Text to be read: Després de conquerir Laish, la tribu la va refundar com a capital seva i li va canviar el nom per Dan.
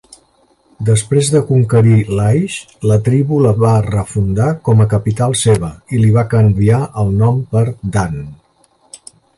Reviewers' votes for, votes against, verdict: 6, 0, accepted